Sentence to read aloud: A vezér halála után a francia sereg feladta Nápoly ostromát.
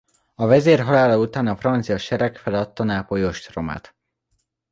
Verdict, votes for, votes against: accepted, 2, 0